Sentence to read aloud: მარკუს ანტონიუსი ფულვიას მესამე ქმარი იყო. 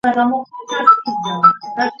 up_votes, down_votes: 0, 2